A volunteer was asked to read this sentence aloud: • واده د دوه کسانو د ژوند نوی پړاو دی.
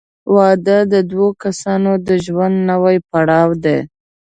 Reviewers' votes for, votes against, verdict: 2, 0, accepted